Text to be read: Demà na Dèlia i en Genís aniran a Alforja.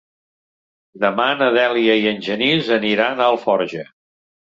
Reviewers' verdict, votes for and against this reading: accepted, 3, 0